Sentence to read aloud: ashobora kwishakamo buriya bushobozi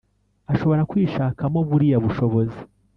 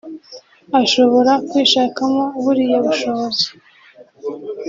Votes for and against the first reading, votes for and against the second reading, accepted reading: 1, 2, 2, 0, second